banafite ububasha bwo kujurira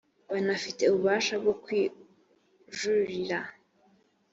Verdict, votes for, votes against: rejected, 1, 2